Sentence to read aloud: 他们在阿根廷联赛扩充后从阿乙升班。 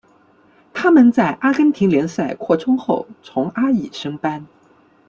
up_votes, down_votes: 2, 1